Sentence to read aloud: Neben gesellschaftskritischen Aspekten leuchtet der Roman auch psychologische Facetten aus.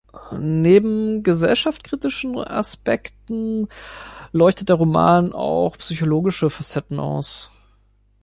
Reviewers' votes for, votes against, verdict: 0, 2, rejected